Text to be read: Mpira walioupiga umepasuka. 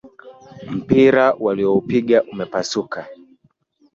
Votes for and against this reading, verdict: 2, 1, accepted